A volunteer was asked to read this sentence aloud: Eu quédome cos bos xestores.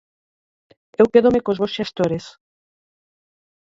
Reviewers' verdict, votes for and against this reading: rejected, 0, 4